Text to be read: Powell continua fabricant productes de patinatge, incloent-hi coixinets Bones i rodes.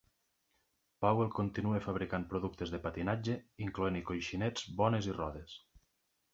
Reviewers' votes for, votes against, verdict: 2, 0, accepted